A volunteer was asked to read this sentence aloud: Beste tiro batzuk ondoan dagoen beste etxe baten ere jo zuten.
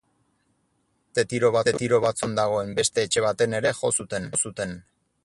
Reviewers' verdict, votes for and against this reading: rejected, 0, 4